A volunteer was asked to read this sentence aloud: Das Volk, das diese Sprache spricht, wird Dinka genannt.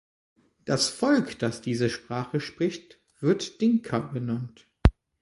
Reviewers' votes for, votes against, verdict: 3, 0, accepted